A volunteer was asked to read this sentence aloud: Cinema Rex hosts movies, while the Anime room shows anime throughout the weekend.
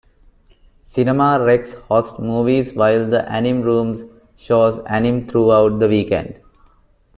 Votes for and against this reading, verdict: 0, 2, rejected